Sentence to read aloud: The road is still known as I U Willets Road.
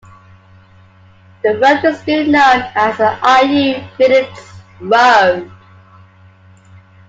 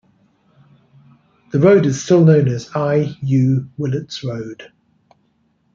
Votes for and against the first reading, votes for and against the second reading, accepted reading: 1, 2, 2, 0, second